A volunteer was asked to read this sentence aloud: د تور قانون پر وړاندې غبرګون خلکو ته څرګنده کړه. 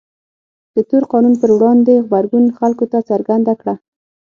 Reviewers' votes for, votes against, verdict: 6, 0, accepted